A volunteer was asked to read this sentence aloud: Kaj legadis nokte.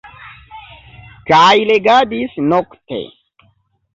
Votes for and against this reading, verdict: 2, 1, accepted